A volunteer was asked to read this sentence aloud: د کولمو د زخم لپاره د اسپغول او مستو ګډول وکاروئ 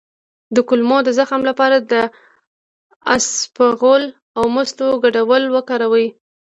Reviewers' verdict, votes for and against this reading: accepted, 2, 0